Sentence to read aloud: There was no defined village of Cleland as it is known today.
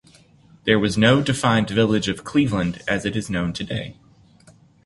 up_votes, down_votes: 1, 2